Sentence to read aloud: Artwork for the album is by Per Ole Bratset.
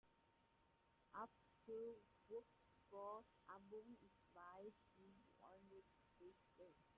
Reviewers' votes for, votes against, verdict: 0, 2, rejected